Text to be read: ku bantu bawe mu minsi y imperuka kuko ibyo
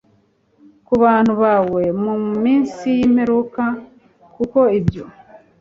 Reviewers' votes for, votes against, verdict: 2, 0, accepted